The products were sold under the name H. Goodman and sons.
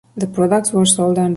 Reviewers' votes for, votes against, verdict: 0, 2, rejected